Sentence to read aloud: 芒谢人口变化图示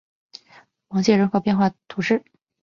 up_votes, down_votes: 8, 0